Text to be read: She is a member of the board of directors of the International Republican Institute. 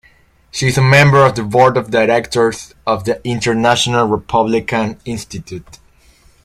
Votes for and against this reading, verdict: 2, 0, accepted